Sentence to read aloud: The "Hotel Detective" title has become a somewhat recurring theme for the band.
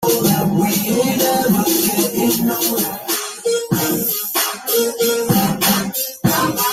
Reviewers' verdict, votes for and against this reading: rejected, 0, 2